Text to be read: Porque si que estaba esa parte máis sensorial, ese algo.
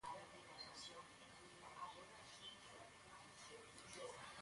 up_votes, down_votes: 0, 2